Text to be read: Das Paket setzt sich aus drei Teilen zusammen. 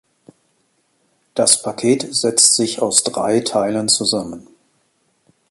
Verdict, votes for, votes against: accepted, 2, 0